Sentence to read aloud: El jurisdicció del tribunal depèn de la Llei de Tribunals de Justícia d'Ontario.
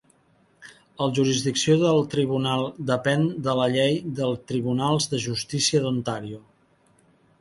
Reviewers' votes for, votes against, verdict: 0, 2, rejected